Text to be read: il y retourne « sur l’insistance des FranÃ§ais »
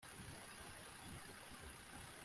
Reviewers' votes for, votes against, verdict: 0, 2, rejected